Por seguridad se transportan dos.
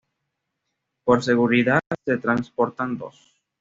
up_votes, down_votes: 2, 0